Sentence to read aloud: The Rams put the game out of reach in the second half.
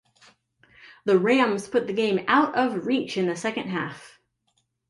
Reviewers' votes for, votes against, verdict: 2, 0, accepted